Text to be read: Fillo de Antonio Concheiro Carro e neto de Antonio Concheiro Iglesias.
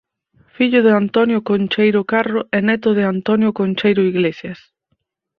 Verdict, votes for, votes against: accepted, 4, 0